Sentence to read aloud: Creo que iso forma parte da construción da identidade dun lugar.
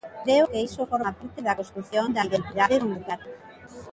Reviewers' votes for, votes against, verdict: 0, 2, rejected